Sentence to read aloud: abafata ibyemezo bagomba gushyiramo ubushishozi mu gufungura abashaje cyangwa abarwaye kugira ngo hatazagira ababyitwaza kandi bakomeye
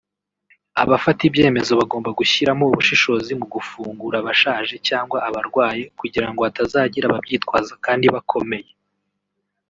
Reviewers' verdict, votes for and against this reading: rejected, 1, 2